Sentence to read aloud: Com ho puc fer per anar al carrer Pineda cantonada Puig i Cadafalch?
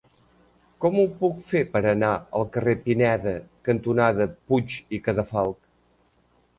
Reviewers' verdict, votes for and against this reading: accepted, 3, 0